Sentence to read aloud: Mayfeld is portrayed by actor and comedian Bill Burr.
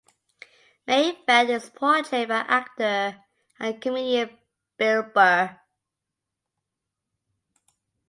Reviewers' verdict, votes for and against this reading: rejected, 1, 2